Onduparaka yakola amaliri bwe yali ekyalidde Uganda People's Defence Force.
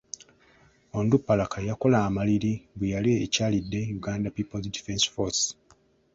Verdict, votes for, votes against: accepted, 2, 0